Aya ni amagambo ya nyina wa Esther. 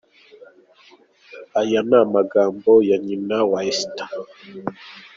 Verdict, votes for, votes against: accepted, 2, 1